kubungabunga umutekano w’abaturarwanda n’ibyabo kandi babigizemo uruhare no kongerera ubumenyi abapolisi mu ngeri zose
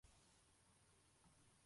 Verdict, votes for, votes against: rejected, 1, 2